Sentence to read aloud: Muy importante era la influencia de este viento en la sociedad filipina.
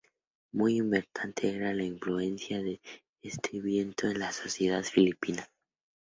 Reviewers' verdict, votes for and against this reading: accepted, 2, 0